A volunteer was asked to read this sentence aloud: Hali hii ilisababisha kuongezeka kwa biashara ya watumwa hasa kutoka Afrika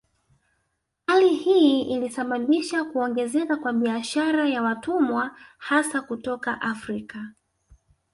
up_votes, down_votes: 1, 2